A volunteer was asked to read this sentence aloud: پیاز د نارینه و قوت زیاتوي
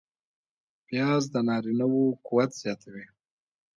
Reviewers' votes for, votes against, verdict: 2, 0, accepted